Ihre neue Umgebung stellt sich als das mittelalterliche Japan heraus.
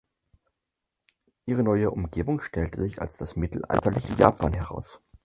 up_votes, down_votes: 2, 4